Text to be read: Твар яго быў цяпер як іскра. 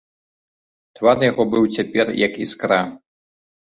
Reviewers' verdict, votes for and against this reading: accepted, 2, 0